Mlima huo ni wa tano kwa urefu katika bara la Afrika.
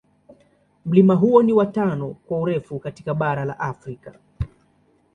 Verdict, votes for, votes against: accepted, 2, 0